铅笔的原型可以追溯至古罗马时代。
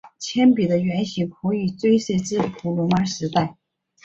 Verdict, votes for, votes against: accepted, 2, 0